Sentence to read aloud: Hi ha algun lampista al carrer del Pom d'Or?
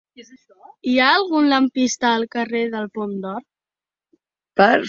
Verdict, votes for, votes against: rejected, 0, 2